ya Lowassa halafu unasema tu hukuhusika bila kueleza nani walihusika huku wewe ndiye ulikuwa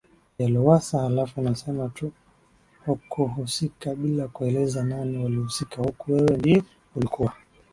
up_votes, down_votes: 2, 0